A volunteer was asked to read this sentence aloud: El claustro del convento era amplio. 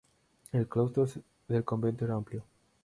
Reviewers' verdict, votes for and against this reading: accepted, 2, 0